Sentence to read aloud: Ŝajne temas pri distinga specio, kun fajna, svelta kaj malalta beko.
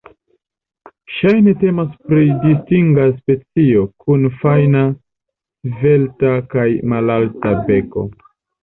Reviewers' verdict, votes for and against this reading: accepted, 2, 0